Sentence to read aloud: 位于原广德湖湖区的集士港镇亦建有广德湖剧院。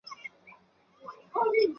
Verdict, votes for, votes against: rejected, 0, 2